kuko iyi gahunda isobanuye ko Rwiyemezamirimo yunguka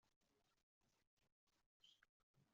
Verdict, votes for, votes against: rejected, 0, 2